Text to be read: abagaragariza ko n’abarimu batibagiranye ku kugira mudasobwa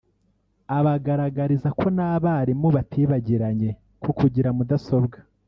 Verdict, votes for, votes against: rejected, 1, 2